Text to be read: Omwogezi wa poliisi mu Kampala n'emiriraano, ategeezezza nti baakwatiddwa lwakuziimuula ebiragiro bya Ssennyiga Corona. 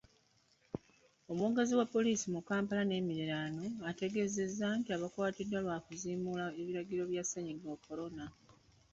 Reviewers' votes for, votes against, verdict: 1, 2, rejected